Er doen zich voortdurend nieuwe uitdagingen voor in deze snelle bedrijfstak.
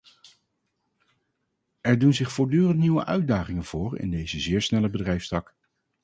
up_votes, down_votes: 0, 2